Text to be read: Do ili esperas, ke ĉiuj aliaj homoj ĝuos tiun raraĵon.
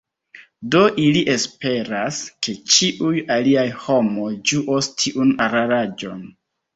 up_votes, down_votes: 1, 2